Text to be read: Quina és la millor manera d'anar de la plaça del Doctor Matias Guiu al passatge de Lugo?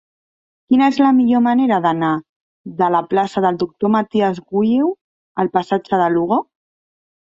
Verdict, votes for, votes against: rejected, 0, 2